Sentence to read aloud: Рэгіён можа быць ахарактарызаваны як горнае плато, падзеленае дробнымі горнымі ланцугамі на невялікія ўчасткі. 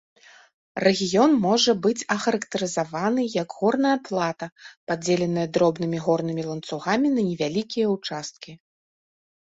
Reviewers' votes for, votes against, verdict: 0, 2, rejected